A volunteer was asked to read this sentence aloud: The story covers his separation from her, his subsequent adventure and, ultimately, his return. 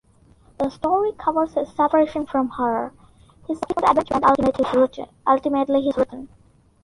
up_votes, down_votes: 0, 2